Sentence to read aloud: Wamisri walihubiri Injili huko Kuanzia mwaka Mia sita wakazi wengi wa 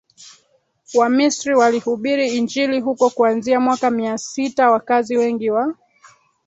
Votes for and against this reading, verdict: 0, 2, rejected